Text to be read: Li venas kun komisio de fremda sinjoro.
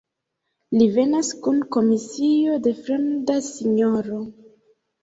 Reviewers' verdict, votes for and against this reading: accepted, 2, 1